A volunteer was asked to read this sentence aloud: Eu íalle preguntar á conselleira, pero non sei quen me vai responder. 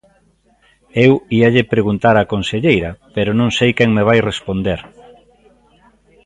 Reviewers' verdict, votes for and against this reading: accepted, 2, 0